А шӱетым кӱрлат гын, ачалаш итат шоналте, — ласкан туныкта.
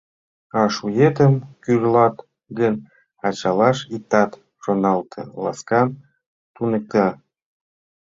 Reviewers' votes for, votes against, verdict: 1, 2, rejected